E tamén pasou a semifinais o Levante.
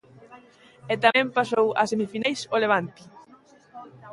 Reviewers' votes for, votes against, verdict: 2, 1, accepted